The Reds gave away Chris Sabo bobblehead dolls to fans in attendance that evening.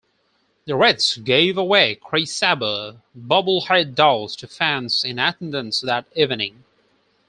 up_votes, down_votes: 2, 4